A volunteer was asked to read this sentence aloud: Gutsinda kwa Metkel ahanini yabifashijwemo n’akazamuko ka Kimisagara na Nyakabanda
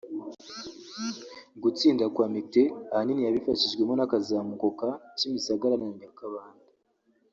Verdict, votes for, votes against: rejected, 1, 2